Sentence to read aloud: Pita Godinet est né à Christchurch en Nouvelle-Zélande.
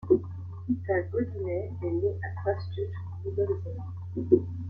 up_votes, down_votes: 1, 2